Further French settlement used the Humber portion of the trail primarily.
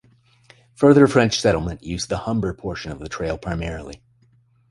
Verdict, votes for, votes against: accepted, 3, 0